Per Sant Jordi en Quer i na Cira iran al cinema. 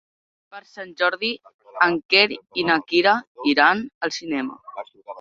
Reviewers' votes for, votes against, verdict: 0, 2, rejected